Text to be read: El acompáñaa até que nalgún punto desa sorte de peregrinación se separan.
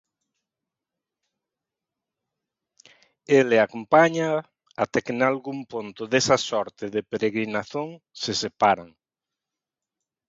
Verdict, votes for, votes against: rejected, 0, 2